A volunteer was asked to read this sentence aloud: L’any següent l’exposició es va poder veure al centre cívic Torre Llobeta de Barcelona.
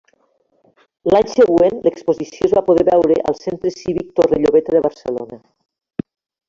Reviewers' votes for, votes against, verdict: 0, 2, rejected